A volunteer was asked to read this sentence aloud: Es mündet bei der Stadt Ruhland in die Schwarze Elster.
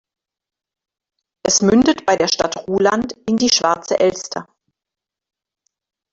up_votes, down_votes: 1, 2